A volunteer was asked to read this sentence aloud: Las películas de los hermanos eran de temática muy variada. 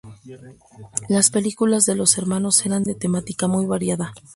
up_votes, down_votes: 2, 2